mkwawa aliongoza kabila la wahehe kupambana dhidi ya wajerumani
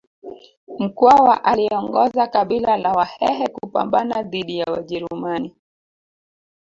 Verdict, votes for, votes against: rejected, 0, 2